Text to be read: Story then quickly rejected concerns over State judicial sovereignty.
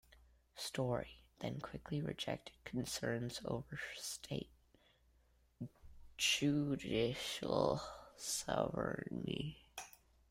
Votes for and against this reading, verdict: 2, 1, accepted